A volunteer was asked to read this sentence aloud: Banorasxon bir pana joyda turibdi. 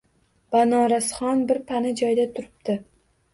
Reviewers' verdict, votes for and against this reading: accepted, 2, 0